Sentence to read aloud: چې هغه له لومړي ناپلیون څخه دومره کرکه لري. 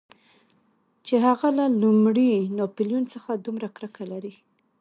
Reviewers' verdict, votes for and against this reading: accepted, 2, 0